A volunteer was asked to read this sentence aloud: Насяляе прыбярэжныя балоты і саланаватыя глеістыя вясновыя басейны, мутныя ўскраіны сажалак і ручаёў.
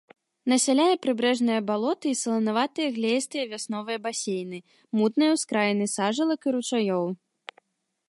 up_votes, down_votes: 1, 2